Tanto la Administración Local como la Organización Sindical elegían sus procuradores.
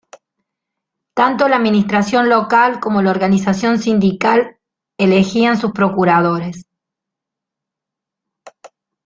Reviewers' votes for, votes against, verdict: 2, 1, accepted